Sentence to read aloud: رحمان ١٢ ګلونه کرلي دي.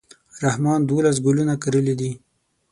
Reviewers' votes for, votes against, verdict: 0, 2, rejected